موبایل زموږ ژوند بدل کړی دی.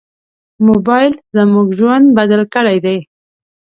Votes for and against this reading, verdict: 2, 0, accepted